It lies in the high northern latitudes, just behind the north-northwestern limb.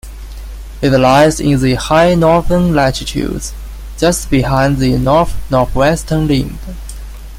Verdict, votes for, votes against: accepted, 2, 1